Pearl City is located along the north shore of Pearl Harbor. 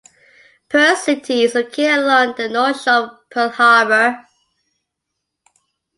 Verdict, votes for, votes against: rejected, 1, 2